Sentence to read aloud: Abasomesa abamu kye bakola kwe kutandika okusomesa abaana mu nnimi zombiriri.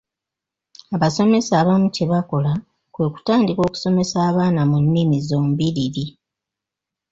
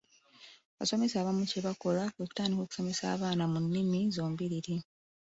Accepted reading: first